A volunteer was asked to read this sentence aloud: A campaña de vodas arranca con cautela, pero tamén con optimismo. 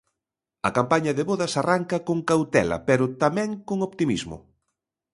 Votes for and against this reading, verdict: 2, 0, accepted